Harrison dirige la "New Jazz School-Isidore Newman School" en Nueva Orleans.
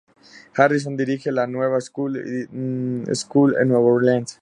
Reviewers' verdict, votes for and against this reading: rejected, 0, 2